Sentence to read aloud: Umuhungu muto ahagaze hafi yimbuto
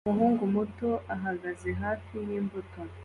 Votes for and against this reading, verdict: 2, 0, accepted